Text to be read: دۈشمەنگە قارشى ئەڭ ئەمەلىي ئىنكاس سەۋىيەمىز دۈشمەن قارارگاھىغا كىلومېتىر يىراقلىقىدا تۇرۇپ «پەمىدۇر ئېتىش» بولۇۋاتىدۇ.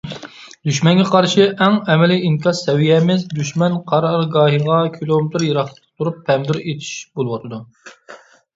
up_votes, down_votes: 2, 0